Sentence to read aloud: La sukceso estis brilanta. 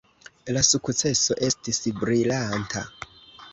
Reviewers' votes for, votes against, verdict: 2, 1, accepted